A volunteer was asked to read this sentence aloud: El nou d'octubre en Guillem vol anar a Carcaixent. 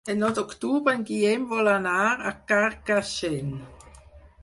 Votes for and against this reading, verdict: 0, 4, rejected